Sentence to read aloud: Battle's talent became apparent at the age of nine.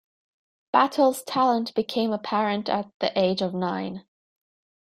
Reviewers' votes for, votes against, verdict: 0, 2, rejected